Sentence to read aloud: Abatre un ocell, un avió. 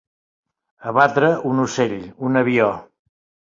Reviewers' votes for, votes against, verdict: 3, 0, accepted